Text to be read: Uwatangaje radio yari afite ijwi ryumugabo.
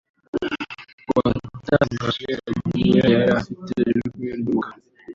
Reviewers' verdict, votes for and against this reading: rejected, 0, 2